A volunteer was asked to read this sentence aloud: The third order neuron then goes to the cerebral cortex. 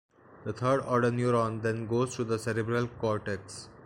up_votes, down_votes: 2, 1